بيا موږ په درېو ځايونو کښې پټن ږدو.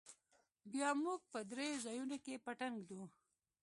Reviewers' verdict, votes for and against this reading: accepted, 2, 0